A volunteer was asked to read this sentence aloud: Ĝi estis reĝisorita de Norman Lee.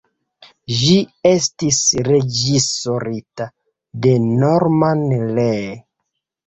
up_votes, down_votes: 2, 1